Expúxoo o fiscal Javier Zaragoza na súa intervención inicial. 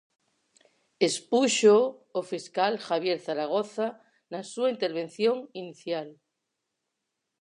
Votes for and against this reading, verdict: 4, 0, accepted